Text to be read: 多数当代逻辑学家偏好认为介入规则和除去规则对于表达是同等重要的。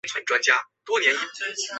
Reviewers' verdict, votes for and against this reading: accepted, 2, 0